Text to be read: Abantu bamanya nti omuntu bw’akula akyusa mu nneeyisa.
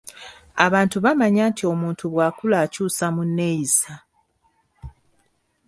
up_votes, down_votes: 2, 0